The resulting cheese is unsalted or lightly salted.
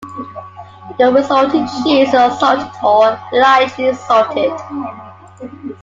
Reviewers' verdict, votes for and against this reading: accepted, 2, 0